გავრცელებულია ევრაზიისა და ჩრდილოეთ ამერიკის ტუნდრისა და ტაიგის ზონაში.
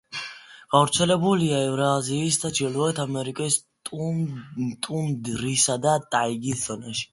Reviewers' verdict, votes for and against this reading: accepted, 2, 0